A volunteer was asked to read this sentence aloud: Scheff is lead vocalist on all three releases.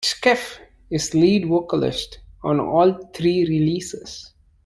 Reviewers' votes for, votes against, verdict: 2, 0, accepted